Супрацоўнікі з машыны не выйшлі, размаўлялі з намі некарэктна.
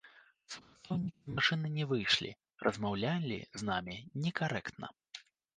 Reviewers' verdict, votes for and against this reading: rejected, 1, 2